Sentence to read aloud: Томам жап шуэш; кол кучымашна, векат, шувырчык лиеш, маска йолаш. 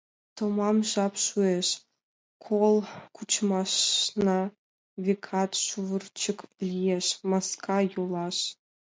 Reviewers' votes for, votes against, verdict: 2, 0, accepted